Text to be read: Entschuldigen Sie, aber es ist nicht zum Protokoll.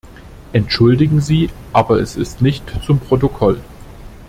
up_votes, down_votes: 2, 0